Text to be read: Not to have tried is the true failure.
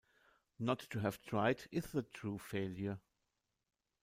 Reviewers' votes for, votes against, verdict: 2, 0, accepted